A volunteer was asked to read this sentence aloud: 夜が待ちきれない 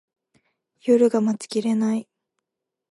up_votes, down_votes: 2, 0